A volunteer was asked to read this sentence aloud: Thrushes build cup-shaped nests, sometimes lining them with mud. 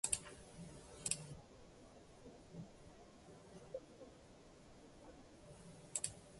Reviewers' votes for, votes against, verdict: 0, 2, rejected